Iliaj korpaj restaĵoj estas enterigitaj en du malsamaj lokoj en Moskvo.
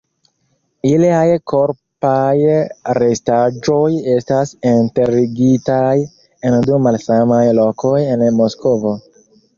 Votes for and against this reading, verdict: 0, 2, rejected